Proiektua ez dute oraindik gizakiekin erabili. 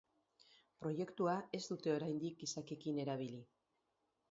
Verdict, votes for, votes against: rejected, 0, 2